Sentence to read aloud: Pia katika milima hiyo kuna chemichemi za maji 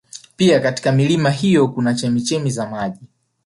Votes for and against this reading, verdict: 2, 1, accepted